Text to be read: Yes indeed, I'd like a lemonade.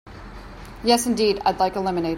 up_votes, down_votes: 2, 0